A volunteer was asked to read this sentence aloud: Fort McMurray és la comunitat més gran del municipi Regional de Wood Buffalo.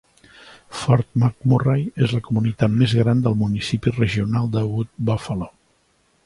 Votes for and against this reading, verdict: 2, 0, accepted